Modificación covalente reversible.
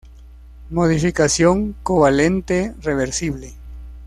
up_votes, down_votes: 2, 0